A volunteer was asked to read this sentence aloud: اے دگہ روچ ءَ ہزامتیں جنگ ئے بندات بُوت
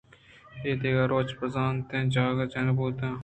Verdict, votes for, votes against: rejected, 1, 2